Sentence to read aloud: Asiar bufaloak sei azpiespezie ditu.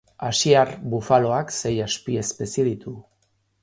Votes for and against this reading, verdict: 2, 0, accepted